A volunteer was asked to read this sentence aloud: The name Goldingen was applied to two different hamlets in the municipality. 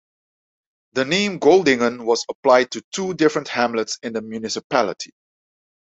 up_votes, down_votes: 2, 0